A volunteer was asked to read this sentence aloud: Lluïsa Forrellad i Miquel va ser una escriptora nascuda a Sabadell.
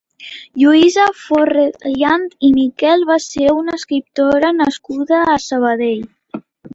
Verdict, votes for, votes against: rejected, 2, 3